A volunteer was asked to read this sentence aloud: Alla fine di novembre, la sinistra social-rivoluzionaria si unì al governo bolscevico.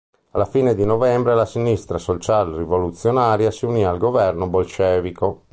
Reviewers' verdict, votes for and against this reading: rejected, 1, 2